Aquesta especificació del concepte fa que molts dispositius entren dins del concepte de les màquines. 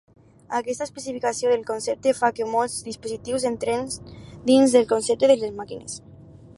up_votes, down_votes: 2, 4